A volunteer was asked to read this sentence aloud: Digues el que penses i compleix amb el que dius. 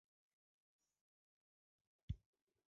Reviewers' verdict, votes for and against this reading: rejected, 0, 2